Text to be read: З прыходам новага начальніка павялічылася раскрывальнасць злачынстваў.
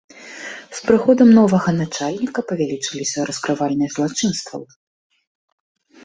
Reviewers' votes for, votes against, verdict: 1, 3, rejected